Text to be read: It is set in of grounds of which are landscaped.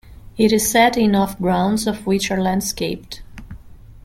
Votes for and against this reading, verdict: 2, 1, accepted